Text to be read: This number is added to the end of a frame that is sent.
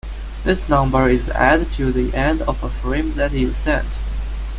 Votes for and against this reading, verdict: 1, 2, rejected